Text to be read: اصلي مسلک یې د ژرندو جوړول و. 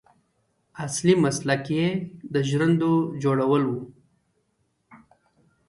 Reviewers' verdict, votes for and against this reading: rejected, 0, 2